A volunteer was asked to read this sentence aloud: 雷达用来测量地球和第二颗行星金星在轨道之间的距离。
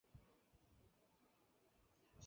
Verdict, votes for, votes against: rejected, 1, 2